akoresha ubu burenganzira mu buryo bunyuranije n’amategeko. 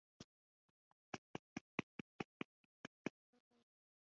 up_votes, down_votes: 0, 2